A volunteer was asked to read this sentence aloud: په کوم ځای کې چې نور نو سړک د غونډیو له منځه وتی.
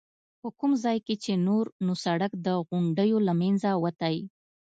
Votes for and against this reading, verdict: 2, 0, accepted